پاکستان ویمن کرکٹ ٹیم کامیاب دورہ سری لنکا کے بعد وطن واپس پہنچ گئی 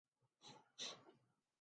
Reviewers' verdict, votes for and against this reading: rejected, 0, 2